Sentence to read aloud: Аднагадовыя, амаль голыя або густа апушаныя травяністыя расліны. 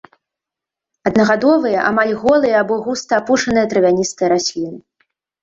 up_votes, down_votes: 2, 0